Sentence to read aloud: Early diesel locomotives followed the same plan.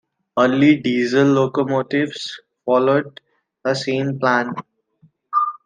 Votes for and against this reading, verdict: 2, 1, accepted